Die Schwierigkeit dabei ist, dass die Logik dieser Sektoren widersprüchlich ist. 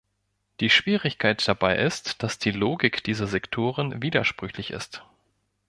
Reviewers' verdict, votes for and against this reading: accepted, 2, 0